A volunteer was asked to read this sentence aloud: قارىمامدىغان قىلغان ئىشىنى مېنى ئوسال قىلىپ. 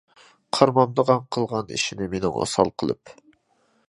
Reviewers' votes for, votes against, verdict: 2, 0, accepted